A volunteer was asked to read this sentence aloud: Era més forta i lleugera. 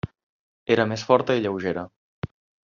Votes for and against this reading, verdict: 3, 0, accepted